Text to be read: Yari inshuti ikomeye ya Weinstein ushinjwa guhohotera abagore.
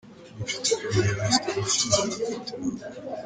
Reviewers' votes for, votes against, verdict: 0, 2, rejected